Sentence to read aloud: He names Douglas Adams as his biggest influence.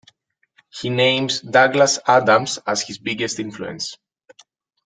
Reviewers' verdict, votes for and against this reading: accepted, 2, 0